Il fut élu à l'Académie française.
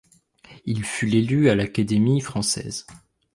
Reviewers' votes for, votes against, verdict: 1, 2, rejected